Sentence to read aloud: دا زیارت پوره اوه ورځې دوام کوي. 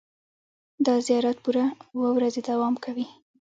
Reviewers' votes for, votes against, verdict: 2, 1, accepted